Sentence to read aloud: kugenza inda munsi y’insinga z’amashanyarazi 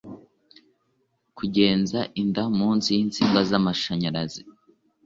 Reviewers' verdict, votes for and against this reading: accepted, 2, 0